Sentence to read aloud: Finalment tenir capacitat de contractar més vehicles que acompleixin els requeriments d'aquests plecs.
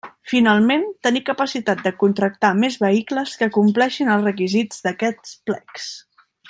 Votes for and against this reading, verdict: 1, 2, rejected